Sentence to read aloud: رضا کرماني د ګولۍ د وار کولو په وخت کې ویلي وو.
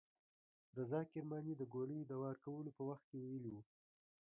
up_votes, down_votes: 2, 1